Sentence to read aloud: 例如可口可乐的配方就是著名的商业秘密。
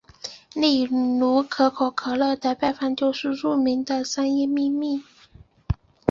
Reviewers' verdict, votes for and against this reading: accepted, 2, 1